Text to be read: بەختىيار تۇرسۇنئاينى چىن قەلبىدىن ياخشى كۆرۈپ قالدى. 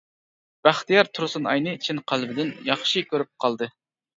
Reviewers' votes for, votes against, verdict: 2, 0, accepted